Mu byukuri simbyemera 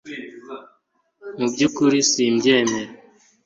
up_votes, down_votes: 2, 0